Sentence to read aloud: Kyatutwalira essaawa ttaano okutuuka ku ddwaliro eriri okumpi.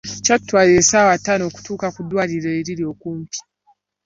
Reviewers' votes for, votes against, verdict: 2, 0, accepted